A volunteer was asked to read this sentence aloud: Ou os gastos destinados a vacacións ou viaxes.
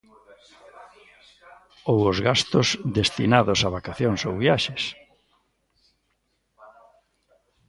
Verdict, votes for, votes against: rejected, 1, 2